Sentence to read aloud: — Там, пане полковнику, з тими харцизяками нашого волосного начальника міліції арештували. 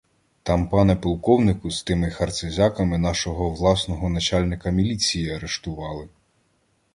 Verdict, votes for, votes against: rejected, 0, 2